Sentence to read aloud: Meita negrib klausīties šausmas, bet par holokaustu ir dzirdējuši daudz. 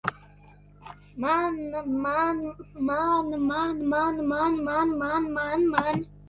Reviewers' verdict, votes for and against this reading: rejected, 1, 2